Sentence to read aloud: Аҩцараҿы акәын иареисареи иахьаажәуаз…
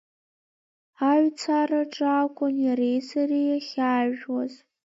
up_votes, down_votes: 2, 1